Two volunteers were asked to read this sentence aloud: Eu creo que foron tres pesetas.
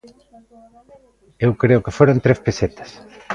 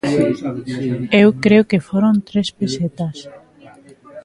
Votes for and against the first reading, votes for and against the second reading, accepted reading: 2, 1, 0, 2, first